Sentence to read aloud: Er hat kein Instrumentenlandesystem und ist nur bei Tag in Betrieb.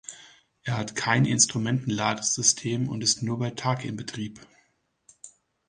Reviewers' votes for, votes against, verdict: 2, 1, accepted